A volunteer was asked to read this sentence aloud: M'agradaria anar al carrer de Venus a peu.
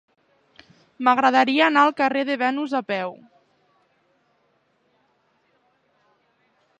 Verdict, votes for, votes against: accepted, 5, 1